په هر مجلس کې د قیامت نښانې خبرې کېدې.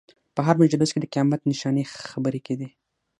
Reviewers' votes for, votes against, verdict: 3, 6, rejected